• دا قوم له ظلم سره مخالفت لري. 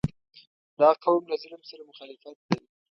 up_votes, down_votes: 1, 2